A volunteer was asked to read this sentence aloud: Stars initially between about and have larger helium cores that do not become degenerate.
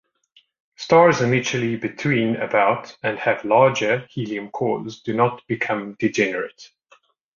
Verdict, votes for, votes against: rejected, 0, 2